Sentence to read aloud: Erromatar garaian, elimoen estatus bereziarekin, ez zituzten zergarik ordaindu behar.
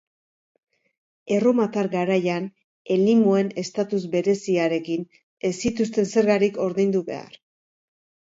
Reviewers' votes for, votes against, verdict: 3, 0, accepted